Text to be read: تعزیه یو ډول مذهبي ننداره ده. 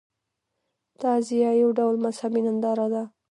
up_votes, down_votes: 1, 2